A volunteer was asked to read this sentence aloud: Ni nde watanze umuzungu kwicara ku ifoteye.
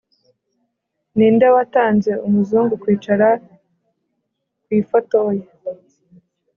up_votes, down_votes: 0, 2